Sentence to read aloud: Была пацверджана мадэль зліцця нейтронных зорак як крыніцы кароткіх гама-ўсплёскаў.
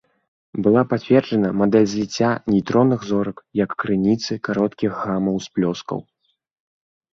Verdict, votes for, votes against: accepted, 2, 0